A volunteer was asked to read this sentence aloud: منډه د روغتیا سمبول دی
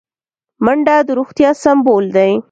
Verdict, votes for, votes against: accepted, 2, 0